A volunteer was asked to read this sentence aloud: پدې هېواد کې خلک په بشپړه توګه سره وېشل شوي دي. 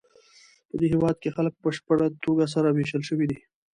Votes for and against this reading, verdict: 2, 0, accepted